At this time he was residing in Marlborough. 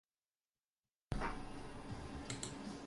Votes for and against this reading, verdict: 0, 4, rejected